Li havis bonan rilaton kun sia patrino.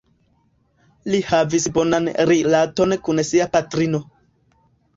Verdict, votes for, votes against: accepted, 2, 1